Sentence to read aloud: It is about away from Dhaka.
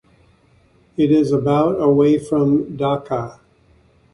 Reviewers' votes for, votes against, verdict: 2, 0, accepted